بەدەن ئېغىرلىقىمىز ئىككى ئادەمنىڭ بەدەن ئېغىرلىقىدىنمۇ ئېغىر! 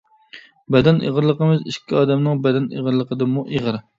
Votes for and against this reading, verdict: 2, 0, accepted